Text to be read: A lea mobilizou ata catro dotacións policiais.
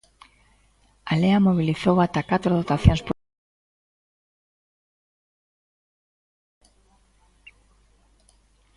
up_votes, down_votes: 1, 2